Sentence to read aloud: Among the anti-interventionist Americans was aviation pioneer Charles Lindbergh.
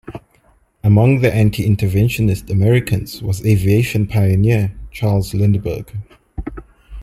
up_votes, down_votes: 2, 0